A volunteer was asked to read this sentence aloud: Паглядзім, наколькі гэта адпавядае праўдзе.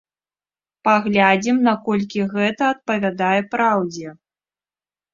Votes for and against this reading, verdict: 0, 2, rejected